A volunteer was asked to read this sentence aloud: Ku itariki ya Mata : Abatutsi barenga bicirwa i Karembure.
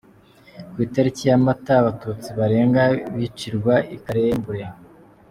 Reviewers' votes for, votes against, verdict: 2, 1, accepted